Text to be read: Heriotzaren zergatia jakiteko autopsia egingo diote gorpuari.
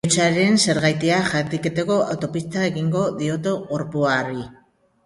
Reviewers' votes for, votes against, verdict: 0, 2, rejected